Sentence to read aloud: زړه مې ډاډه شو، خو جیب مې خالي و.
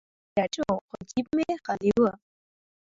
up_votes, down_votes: 2, 1